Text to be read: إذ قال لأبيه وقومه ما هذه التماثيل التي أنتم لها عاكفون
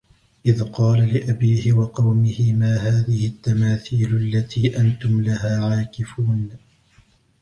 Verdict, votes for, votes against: rejected, 1, 2